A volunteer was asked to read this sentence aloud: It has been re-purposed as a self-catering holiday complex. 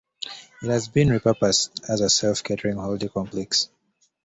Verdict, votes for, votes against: accepted, 2, 0